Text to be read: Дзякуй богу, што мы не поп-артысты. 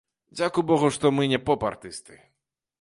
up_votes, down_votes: 2, 0